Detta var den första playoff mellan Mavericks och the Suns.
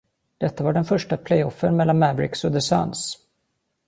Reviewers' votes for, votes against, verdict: 0, 2, rejected